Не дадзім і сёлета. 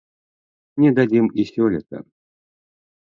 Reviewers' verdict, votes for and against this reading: accepted, 3, 0